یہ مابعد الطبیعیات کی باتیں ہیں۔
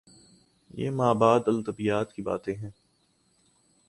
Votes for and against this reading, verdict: 2, 0, accepted